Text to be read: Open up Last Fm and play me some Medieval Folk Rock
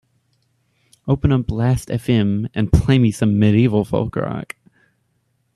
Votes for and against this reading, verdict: 2, 0, accepted